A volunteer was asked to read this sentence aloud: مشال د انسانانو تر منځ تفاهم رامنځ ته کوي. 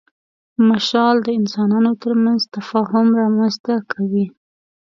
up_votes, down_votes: 2, 0